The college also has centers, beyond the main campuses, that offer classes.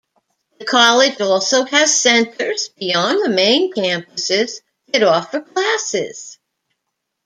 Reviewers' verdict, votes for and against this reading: accepted, 2, 0